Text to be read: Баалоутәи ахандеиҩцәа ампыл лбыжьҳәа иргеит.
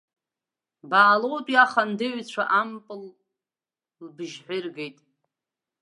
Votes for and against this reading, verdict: 0, 2, rejected